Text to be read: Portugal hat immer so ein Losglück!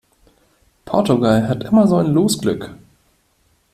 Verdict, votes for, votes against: accepted, 2, 0